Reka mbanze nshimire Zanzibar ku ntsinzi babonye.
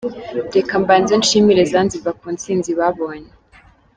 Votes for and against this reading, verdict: 2, 0, accepted